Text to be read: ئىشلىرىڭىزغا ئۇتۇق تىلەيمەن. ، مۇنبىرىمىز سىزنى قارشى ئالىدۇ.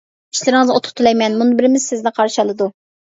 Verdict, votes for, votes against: accepted, 2, 1